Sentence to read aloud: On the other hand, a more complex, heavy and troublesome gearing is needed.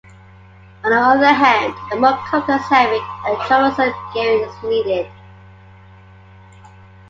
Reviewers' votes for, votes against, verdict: 2, 0, accepted